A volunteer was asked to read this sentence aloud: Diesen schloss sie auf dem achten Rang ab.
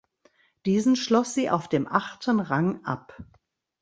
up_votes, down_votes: 2, 0